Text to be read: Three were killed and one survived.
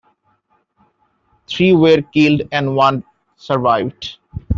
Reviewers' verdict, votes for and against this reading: accepted, 2, 0